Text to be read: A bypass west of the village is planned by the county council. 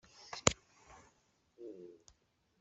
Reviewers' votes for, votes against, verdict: 0, 2, rejected